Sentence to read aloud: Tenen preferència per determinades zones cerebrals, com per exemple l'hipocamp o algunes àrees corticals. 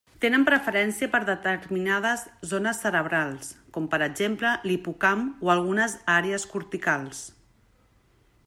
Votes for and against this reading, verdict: 1, 2, rejected